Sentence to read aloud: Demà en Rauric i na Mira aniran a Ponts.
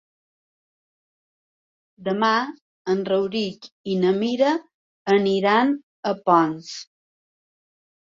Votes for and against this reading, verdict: 3, 0, accepted